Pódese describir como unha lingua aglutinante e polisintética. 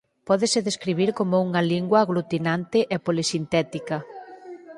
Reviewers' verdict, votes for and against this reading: rejected, 0, 4